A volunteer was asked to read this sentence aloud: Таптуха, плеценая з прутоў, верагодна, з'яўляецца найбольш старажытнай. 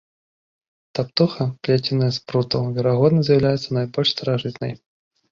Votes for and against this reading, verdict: 2, 0, accepted